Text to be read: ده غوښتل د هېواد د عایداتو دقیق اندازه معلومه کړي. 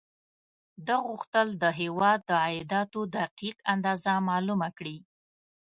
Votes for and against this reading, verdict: 1, 2, rejected